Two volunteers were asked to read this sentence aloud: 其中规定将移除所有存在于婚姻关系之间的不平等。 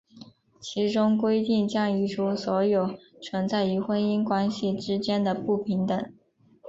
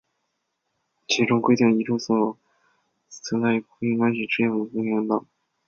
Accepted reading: first